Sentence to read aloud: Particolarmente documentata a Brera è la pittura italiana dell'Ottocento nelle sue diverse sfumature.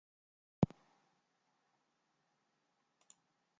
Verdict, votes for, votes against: rejected, 0, 2